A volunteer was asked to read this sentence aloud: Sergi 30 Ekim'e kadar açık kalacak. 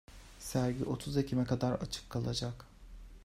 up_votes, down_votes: 0, 2